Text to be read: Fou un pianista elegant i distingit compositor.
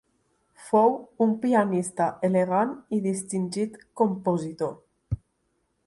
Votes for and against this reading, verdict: 2, 0, accepted